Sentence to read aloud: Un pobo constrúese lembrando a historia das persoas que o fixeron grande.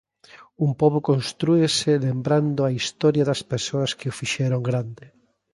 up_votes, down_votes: 2, 0